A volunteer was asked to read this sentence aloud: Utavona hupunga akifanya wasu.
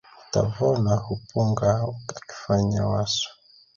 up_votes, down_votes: 2, 1